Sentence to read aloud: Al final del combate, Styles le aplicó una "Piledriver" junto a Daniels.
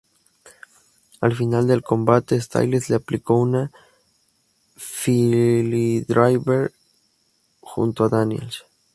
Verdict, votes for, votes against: rejected, 0, 2